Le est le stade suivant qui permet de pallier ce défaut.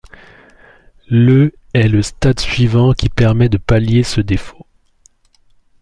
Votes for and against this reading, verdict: 2, 0, accepted